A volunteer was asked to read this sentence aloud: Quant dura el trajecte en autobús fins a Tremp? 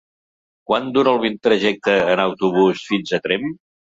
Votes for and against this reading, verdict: 0, 2, rejected